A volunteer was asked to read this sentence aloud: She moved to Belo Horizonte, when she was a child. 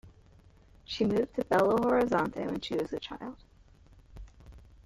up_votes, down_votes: 0, 2